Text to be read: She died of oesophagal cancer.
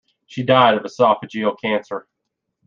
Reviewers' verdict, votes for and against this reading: accepted, 2, 0